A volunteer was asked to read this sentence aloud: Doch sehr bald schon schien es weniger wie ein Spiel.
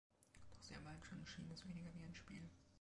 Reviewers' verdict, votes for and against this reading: rejected, 0, 2